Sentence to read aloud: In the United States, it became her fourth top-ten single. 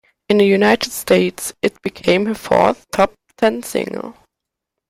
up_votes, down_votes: 2, 0